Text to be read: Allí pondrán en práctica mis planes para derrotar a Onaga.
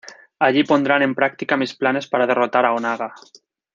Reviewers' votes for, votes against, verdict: 2, 0, accepted